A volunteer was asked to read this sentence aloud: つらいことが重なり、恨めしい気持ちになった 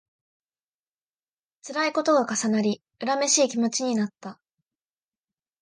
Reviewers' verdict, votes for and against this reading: accepted, 2, 0